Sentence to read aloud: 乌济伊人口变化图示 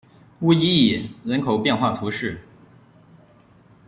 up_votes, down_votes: 0, 2